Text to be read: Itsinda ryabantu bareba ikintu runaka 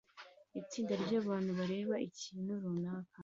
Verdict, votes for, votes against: accepted, 2, 1